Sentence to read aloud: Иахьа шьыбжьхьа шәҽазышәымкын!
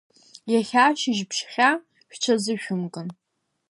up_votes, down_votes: 1, 2